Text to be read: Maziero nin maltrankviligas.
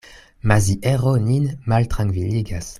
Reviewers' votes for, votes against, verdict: 2, 0, accepted